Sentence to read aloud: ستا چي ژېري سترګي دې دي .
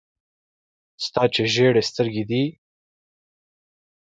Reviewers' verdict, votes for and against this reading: accepted, 2, 0